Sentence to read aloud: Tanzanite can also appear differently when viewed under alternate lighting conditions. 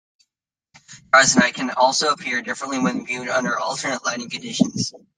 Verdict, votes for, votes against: rejected, 1, 2